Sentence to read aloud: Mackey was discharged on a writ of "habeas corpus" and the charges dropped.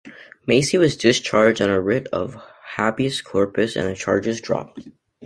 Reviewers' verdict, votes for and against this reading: rejected, 1, 2